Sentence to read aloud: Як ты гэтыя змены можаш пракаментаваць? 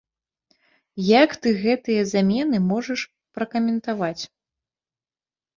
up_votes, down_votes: 1, 2